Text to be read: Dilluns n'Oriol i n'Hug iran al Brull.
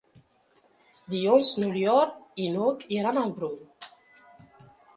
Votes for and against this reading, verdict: 0, 2, rejected